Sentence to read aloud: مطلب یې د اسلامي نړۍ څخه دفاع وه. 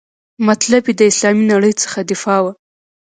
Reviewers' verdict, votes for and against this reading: accepted, 2, 0